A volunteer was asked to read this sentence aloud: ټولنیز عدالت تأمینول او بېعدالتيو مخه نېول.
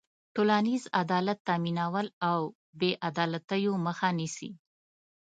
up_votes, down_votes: 1, 2